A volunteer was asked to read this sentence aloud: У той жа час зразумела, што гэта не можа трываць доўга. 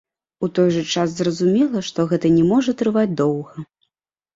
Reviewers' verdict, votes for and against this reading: accepted, 2, 0